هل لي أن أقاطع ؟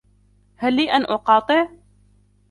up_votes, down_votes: 2, 0